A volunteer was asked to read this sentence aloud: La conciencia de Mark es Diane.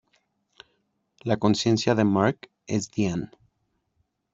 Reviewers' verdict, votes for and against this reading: accepted, 2, 0